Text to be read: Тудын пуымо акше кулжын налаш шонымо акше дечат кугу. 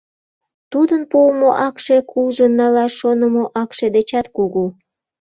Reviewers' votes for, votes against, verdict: 2, 0, accepted